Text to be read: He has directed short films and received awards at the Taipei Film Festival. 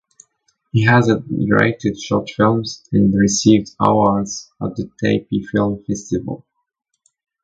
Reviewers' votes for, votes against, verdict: 0, 2, rejected